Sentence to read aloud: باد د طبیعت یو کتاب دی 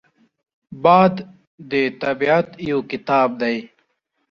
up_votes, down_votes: 2, 0